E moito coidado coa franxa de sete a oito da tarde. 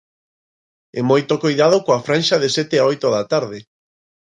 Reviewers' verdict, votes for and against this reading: accepted, 2, 1